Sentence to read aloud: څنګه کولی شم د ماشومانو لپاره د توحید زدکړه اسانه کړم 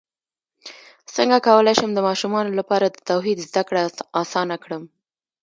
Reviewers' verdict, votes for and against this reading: accepted, 2, 0